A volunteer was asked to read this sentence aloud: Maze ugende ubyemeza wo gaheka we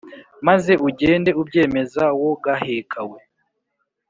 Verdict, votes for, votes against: accepted, 2, 0